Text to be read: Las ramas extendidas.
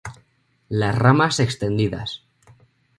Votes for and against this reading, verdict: 2, 0, accepted